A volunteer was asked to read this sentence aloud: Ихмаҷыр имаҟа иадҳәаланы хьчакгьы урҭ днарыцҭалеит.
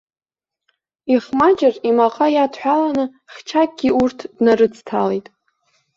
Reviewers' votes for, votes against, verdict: 1, 2, rejected